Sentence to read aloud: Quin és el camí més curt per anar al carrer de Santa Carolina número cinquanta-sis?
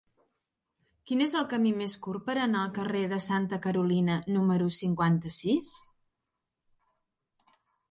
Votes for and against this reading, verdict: 2, 0, accepted